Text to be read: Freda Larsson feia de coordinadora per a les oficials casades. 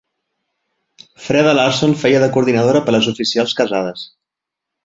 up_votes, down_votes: 2, 0